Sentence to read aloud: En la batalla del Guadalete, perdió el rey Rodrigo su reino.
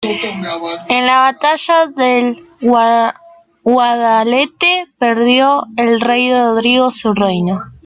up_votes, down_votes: 1, 2